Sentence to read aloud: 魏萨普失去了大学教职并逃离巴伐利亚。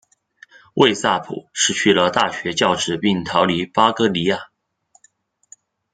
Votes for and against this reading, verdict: 1, 2, rejected